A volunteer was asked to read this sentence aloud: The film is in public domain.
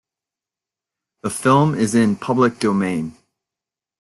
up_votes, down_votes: 2, 0